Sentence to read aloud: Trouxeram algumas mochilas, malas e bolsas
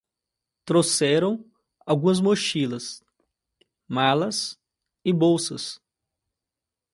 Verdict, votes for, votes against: accepted, 2, 0